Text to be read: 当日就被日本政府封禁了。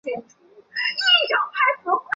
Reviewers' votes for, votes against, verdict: 0, 3, rejected